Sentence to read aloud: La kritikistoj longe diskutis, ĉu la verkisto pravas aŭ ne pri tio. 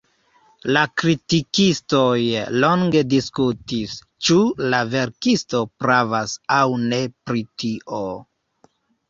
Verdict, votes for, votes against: accepted, 2, 0